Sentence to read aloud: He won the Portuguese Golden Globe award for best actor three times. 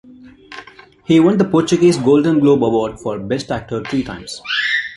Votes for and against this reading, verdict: 2, 0, accepted